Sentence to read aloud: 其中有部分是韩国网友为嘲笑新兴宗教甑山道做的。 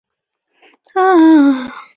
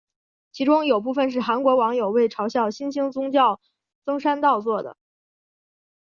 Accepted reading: second